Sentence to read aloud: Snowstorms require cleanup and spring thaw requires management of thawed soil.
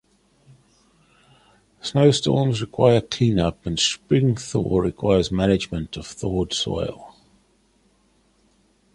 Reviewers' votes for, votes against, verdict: 2, 0, accepted